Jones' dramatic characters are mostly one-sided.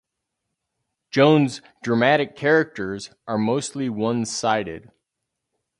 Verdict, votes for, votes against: rejected, 2, 2